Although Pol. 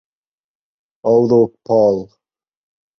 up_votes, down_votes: 4, 0